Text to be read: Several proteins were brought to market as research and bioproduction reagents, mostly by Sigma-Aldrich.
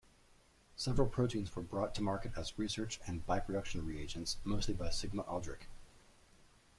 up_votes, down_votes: 1, 2